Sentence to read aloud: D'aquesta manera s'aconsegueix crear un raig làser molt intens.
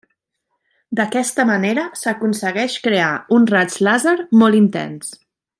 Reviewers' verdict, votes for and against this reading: accepted, 4, 0